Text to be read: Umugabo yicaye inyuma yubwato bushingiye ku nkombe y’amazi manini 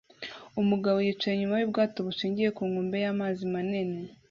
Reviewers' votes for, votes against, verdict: 0, 2, rejected